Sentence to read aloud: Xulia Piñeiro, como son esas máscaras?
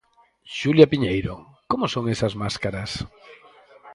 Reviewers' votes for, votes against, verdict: 0, 4, rejected